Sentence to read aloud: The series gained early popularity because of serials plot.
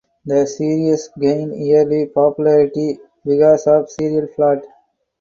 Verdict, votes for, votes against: rejected, 2, 4